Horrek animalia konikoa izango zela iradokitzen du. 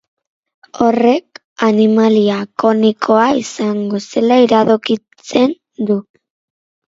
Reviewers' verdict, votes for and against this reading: rejected, 2, 2